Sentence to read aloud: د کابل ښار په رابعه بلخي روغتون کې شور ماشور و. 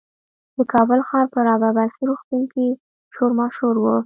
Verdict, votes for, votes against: accepted, 3, 0